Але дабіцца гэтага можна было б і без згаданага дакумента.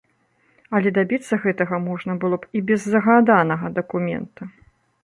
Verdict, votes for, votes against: rejected, 0, 2